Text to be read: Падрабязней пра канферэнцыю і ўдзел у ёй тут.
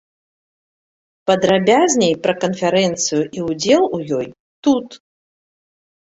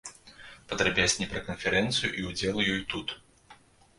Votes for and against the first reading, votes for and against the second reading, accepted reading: 1, 2, 2, 0, second